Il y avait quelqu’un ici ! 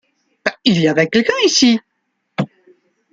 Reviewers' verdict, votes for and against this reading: rejected, 0, 2